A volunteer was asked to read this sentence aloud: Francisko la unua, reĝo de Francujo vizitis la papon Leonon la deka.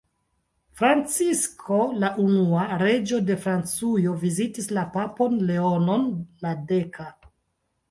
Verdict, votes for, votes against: accepted, 2, 1